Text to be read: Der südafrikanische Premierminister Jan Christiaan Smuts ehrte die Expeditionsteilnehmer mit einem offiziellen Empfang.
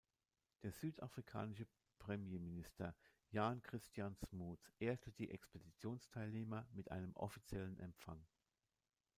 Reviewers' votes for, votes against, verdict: 1, 2, rejected